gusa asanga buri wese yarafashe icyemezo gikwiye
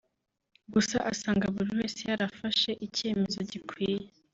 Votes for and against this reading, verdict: 2, 0, accepted